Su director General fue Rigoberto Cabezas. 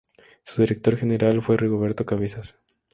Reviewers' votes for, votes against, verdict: 2, 0, accepted